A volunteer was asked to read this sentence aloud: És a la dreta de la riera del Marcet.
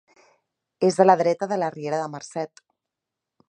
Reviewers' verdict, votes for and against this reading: rejected, 1, 2